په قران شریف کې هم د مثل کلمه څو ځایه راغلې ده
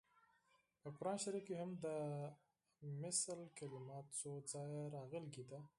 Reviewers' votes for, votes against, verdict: 0, 4, rejected